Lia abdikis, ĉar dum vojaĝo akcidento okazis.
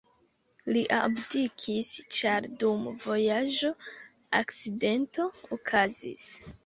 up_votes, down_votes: 0, 2